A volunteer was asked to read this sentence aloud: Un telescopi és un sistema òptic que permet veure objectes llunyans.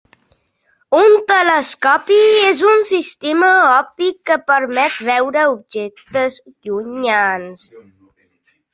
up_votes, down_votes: 3, 0